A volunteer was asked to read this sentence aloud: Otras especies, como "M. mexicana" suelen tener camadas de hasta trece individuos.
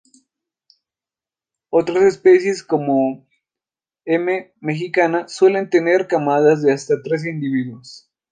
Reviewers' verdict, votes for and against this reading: rejected, 0, 2